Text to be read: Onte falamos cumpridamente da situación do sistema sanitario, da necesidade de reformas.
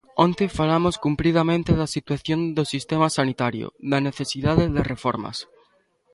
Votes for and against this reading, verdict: 2, 0, accepted